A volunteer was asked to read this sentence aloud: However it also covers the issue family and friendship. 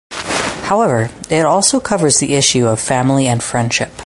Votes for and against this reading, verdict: 4, 2, accepted